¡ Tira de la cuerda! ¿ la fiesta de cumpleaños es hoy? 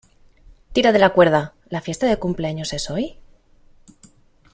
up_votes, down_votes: 2, 1